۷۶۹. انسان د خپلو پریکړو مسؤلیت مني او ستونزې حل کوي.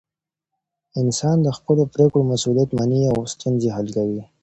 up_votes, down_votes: 0, 2